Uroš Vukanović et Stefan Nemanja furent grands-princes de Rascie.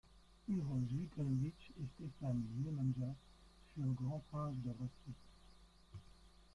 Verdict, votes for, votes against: rejected, 0, 2